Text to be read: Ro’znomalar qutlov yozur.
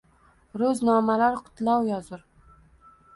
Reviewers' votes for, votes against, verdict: 2, 0, accepted